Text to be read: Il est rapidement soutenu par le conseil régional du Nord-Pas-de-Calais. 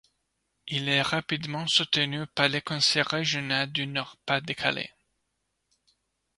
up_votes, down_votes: 2, 0